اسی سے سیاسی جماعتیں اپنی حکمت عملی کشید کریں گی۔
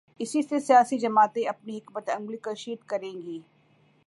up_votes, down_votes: 2, 0